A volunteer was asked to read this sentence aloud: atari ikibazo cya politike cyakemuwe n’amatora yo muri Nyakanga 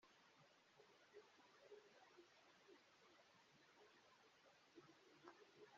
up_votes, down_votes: 1, 2